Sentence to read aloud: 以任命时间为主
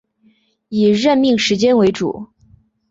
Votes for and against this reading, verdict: 4, 0, accepted